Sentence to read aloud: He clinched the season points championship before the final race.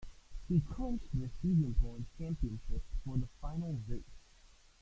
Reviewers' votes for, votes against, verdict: 1, 2, rejected